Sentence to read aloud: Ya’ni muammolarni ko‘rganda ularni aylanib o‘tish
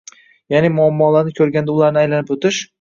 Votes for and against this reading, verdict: 1, 2, rejected